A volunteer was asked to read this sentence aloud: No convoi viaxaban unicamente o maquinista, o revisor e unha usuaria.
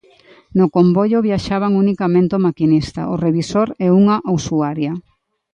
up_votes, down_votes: 0, 2